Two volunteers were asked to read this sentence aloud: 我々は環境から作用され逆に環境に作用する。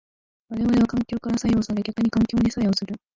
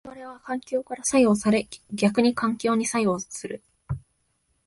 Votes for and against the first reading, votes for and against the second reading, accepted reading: 2, 3, 2, 0, second